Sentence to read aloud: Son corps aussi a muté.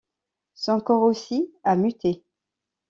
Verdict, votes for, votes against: accepted, 2, 0